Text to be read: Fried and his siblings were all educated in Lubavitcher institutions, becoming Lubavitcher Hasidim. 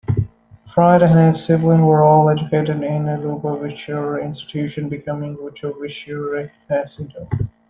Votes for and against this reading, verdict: 0, 2, rejected